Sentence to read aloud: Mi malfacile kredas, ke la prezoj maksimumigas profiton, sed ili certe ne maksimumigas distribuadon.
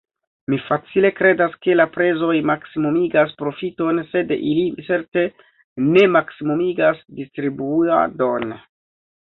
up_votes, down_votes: 2, 0